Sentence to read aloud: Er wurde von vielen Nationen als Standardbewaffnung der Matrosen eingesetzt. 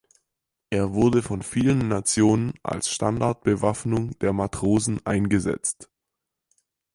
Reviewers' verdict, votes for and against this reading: accepted, 4, 0